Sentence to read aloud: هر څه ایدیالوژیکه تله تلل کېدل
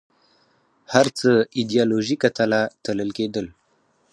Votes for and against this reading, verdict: 0, 4, rejected